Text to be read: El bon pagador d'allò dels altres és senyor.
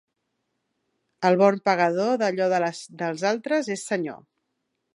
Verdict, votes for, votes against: rejected, 1, 2